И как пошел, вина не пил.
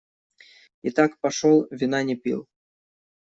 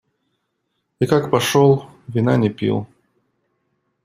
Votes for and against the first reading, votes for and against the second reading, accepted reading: 1, 2, 2, 0, second